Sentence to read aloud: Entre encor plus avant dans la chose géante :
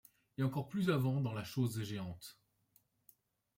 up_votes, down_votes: 1, 2